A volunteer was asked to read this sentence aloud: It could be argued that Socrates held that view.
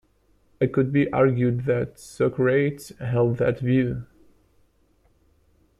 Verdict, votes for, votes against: rejected, 0, 2